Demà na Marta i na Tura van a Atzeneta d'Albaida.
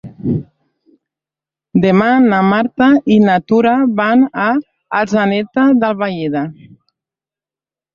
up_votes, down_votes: 0, 2